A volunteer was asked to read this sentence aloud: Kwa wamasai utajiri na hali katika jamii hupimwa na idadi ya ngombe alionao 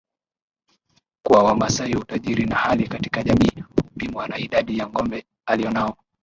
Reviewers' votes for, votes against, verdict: 2, 4, rejected